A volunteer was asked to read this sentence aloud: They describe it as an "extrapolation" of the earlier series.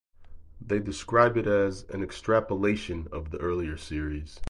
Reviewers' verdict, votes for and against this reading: accepted, 4, 0